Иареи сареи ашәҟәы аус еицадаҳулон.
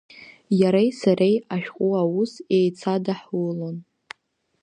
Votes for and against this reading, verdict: 2, 0, accepted